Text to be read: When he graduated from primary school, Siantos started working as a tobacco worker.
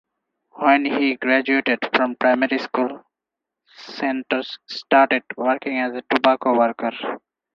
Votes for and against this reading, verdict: 0, 4, rejected